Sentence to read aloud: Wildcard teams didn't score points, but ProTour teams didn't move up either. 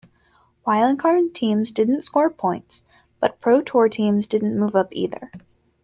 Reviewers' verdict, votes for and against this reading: accepted, 2, 0